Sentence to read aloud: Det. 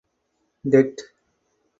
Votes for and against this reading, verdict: 4, 0, accepted